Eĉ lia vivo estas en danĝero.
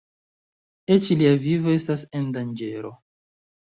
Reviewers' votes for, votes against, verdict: 2, 0, accepted